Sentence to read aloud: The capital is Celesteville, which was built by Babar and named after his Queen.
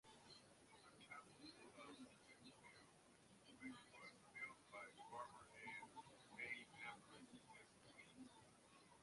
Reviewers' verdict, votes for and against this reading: rejected, 0, 2